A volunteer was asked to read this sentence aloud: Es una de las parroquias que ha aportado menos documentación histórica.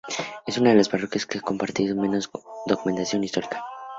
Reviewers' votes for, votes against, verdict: 2, 0, accepted